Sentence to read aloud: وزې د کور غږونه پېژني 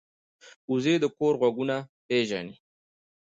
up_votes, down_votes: 0, 2